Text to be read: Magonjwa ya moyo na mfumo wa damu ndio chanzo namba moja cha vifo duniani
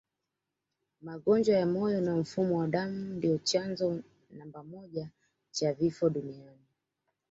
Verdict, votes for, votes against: rejected, 1, 2